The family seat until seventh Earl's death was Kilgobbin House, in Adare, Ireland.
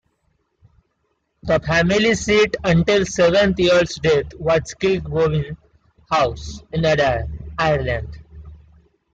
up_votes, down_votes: 1, 2